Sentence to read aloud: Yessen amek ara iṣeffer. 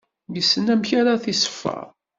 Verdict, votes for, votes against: accepted, 2, 1